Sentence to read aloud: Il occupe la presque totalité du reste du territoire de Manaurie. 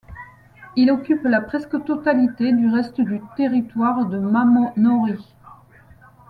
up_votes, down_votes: 1, 2